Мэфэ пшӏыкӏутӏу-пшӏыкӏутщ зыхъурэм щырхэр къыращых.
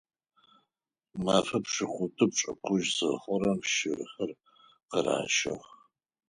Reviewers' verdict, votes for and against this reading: accepted, 4, 0